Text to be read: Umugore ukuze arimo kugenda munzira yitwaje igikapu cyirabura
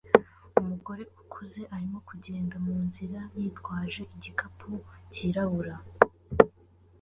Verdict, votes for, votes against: accepted, 3, 0